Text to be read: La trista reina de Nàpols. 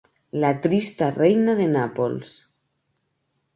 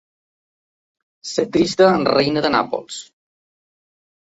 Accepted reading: first